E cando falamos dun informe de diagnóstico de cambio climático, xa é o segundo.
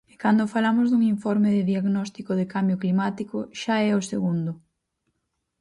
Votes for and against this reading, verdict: 0, 4, rejected